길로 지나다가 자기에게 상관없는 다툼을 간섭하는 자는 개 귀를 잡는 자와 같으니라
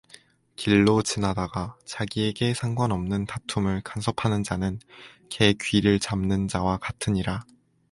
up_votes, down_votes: 4, 0